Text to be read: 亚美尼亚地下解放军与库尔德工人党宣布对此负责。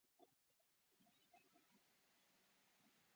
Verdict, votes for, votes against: rejected, 0, 3